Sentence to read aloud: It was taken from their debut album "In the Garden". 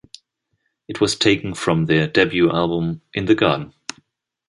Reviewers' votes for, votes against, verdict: 2, 0, accepted